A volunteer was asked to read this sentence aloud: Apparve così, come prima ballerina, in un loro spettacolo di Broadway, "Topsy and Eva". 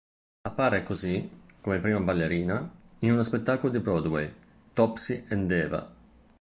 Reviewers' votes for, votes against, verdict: 0, 2, rejected